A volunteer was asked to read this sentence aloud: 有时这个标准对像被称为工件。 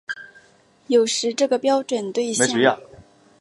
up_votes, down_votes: 3, 4